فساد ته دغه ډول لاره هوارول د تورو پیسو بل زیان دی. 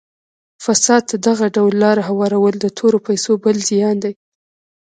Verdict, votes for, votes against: rejected, 1, 2